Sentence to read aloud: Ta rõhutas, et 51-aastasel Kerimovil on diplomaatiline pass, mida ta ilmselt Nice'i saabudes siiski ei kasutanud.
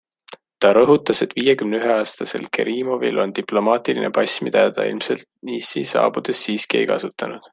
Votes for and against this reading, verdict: 0, 2, rejected